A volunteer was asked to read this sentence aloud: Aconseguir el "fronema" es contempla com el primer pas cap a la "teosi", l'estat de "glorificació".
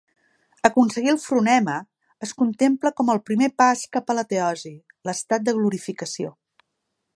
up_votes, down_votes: 2, 0